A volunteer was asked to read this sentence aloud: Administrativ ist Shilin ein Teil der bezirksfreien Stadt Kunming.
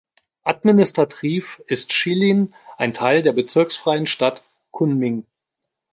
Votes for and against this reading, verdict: 1, 2, rejected